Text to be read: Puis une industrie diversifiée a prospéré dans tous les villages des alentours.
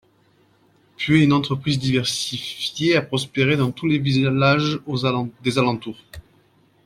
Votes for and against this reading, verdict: 1, 2, rejected